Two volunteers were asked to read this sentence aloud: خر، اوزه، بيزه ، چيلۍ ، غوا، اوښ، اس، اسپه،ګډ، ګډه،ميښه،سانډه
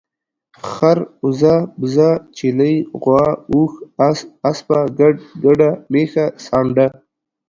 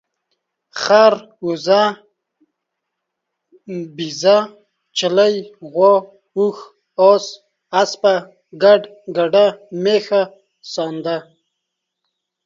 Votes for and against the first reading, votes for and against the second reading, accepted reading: 2, 0, 1, 2, first